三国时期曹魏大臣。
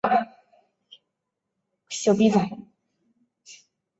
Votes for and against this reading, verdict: 0, 2, rejected